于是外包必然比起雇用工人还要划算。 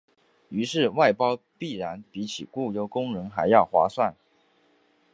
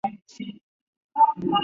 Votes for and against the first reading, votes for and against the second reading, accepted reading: 5, 0, 2, 4, first